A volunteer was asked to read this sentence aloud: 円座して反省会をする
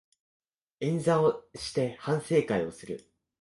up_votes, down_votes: 1, 2